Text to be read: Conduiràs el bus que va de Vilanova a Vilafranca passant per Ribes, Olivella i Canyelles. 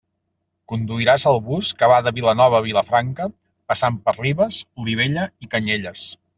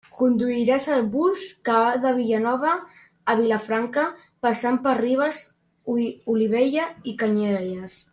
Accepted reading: first